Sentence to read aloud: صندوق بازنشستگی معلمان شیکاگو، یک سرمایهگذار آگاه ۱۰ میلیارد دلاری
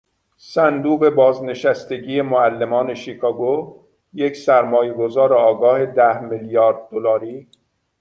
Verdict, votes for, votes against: rejected, 0, 2